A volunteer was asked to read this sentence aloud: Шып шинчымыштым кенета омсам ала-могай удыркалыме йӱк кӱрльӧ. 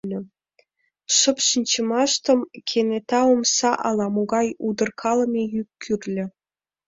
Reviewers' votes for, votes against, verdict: 1, 2, rejected